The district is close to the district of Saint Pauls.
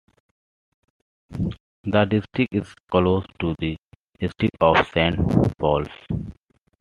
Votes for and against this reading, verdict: 2, 0, accepted